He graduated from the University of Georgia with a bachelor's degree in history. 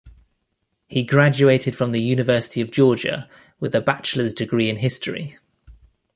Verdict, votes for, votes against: accepted, 2, 0